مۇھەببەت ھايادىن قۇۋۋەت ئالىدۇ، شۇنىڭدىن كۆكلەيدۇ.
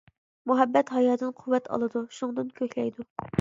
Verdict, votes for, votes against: accepted, 2, 0